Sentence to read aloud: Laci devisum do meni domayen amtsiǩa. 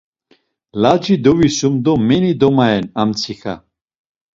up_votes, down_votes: 2, 0